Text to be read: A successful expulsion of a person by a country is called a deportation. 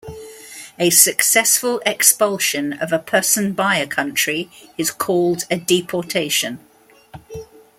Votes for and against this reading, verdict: 2, 0, accepted